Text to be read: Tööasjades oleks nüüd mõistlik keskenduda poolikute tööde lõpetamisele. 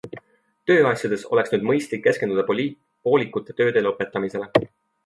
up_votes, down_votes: 0, 2